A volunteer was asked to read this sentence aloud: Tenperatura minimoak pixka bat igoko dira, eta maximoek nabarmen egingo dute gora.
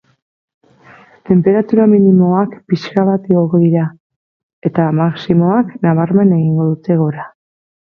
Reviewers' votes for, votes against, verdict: 0, 6, rejected